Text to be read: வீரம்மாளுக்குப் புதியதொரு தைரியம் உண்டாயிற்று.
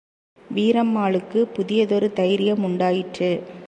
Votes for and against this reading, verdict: 2, 1, accepted